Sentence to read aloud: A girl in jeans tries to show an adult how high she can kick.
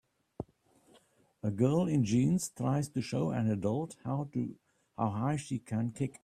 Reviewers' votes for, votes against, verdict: 1, 2, rejected